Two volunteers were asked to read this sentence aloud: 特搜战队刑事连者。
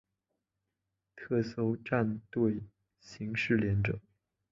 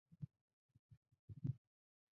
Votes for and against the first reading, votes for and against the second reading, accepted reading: 4, 0, 0, 2, first